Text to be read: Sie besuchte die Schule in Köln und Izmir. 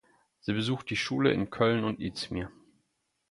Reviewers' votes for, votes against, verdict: 0, 4, rejected